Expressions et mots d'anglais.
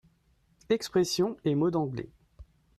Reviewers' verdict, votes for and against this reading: accepted, 2, 0